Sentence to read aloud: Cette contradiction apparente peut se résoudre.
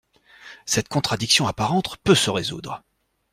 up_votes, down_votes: 0, 2